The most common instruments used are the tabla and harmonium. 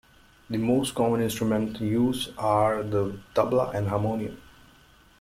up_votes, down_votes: 1, 2